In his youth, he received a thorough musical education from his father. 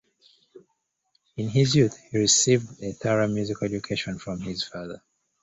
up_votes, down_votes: 1, 2